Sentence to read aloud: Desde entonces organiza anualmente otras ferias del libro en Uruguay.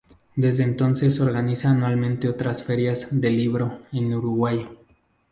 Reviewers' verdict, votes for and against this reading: rejected, 0, 2